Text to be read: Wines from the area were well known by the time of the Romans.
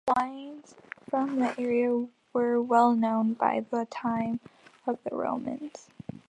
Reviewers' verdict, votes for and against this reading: accepted, 3, 1